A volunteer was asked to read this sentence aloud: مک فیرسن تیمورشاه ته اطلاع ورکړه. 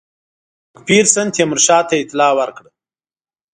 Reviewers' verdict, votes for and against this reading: rejected, 0, 3